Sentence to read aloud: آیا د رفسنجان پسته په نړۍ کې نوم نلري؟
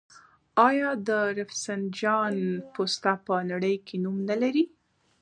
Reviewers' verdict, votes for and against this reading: rejected, 0, 2